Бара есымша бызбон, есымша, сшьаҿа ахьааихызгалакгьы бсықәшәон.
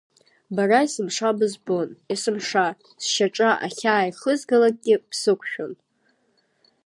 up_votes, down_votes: 2, 0